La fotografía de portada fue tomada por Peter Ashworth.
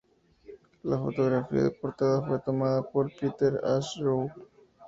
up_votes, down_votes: 0, 2